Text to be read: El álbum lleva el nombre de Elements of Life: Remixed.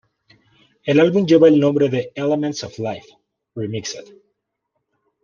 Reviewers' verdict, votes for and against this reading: accepted, 2, 0